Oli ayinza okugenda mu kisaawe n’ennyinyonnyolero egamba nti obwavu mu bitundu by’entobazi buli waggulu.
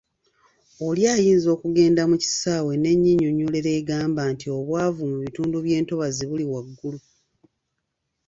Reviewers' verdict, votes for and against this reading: accepted, 2, 0